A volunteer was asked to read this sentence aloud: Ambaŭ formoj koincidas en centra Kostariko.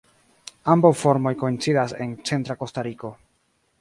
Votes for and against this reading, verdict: 1, 2, rejected